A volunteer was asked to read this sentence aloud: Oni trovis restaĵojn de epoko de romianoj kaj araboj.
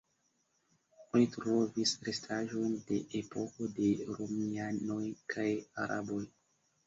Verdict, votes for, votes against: rejected, 1, 2